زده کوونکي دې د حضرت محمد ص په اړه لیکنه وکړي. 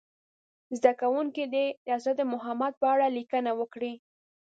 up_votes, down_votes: 1, 2